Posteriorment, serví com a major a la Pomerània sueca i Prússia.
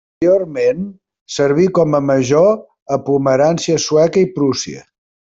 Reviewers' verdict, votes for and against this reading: rejected, 0, 2